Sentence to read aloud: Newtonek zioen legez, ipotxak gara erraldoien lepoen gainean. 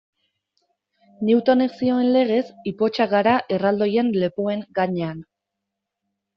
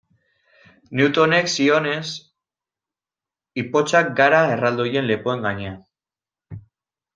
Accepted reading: first